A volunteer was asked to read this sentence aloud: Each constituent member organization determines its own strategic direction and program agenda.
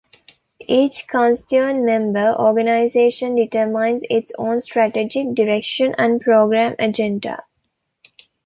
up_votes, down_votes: 2, 1